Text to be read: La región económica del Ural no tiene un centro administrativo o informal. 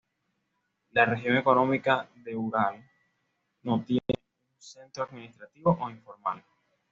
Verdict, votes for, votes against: accepted, 2, 0